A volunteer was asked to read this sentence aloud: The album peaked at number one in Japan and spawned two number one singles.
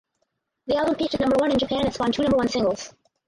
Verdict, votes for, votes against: rejected, 2, 2